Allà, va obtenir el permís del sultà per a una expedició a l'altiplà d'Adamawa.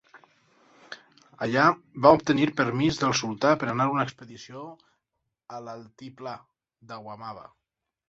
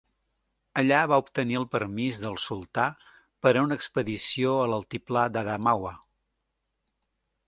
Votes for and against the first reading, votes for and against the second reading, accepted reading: 0, 4, 2, 0, second